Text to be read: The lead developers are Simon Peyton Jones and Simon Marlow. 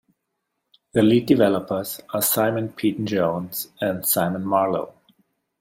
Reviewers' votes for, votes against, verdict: 2, 0, accepted